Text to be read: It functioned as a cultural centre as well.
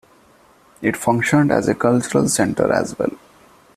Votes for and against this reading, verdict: 2, 0, accepted